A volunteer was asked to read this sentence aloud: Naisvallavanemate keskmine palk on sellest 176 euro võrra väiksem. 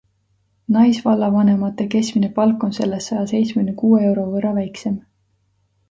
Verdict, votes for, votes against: rejected, 0, 2